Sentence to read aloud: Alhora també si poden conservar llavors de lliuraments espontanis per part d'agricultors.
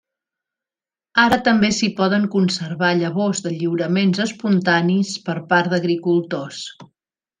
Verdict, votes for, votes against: rejected, 1, 2